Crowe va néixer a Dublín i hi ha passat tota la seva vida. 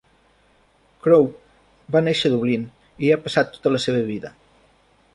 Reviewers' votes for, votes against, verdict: 1, 2, rejected